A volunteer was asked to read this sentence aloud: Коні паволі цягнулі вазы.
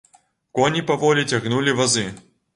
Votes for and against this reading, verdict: 2, 0, accepted